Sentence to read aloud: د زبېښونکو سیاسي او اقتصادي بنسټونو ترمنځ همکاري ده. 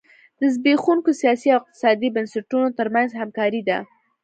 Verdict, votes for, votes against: accepted, 2, 0